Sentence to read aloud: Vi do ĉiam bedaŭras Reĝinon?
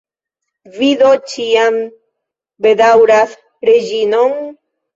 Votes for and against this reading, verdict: 1, 2, rejected